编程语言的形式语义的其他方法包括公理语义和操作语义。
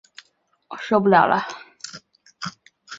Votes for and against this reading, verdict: 1, 3, rejected